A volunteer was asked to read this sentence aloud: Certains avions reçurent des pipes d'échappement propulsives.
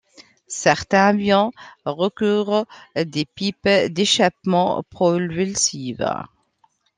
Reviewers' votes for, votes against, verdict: 0, 2, rejected